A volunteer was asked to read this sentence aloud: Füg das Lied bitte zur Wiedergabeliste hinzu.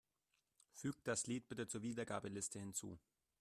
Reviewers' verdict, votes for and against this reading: accepted, 2, 0